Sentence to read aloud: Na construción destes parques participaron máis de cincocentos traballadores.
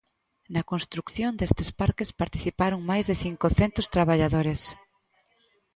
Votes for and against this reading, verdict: 1, 2, rejected